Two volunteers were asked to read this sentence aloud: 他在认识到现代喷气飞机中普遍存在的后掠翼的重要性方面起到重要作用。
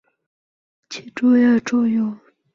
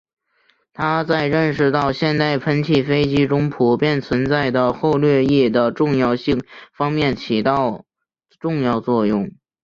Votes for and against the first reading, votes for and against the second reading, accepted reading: 0, 2, 2, 0, second